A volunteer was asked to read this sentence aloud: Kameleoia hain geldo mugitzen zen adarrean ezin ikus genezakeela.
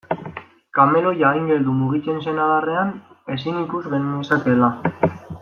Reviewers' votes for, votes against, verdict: 0, 2, rejected